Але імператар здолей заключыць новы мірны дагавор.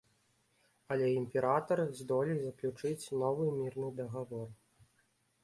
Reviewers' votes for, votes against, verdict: 2, 0, accepted